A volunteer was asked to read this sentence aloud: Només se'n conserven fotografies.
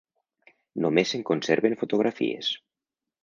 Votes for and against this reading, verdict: 4, 0, accepted